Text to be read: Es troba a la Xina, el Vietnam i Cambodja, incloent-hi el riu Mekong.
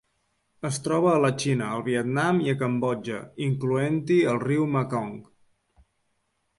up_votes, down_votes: 1, 2